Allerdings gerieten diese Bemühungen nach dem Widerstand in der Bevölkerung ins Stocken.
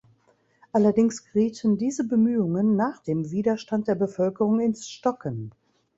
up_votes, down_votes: 1, 2